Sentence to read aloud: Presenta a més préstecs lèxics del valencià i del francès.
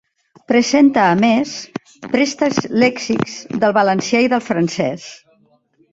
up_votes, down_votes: 3, 1